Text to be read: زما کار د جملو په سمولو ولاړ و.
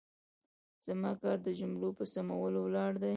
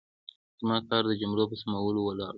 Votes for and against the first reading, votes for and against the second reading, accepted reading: 1, 2, 2, 0, second